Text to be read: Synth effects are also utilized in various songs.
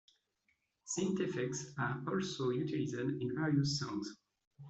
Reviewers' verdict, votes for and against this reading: rejected, 1, 2